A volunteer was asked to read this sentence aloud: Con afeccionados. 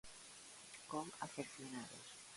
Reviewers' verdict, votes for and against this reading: rejected, 0, 2